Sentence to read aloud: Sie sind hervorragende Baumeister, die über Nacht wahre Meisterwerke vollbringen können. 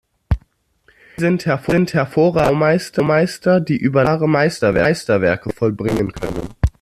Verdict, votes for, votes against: rejected, 0, 2